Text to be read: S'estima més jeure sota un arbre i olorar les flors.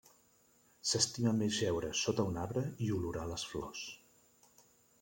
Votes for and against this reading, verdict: 2, 1, accepted